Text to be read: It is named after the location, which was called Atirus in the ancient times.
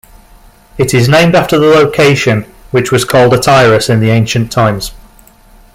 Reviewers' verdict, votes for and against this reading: rejected, 0, 2